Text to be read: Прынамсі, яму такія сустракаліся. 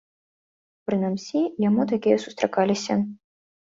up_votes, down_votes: 1, 2